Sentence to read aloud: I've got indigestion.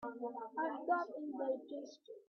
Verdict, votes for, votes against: rejected, 0, 3